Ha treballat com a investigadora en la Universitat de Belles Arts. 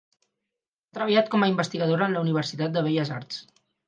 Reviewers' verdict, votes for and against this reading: rejected, 0, 4